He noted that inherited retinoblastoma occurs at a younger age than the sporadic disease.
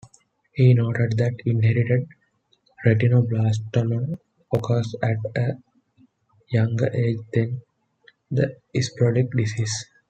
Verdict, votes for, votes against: rejected, 1, 2